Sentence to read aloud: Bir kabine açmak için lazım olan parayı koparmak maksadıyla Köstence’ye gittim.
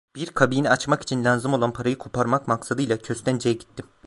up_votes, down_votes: 2, 0